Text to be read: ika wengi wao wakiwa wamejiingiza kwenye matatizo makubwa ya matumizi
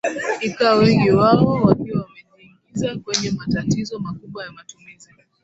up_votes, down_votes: 0, 2